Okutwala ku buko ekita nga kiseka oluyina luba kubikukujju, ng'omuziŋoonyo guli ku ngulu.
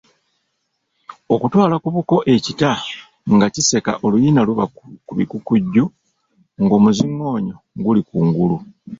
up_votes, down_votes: 1, 2